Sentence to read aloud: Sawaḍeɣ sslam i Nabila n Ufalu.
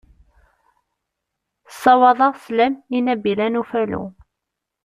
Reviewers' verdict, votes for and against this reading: rejected, 1, 2